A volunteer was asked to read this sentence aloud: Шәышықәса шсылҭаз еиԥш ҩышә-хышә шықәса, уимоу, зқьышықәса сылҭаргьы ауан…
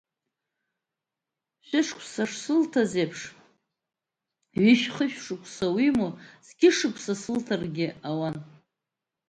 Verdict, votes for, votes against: accepted, 2, 0